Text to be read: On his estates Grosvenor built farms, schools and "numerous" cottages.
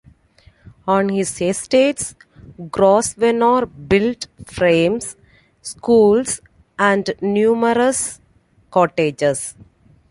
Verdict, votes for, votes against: rejected, 0, 2